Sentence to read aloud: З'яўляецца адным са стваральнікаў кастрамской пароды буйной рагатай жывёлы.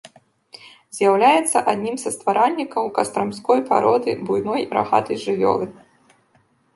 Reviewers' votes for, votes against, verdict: 1, 2, rejected